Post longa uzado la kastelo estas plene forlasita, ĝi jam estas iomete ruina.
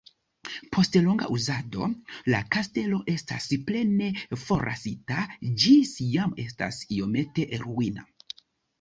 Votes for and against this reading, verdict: 1, 2, rejected